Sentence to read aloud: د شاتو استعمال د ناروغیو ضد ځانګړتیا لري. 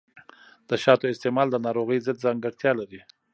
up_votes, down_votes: 0, 2